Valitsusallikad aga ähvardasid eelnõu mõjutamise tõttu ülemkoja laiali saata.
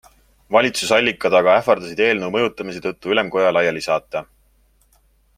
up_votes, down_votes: 2, 0